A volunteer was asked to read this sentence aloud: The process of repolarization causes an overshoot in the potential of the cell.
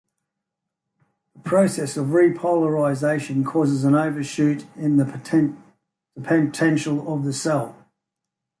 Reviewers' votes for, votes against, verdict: 0, 2, rejected